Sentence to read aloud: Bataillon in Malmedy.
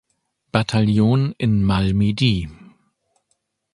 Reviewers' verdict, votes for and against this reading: accepted, 2, 0